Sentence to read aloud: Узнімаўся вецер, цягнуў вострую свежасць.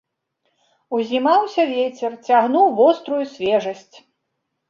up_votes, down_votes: 1, 2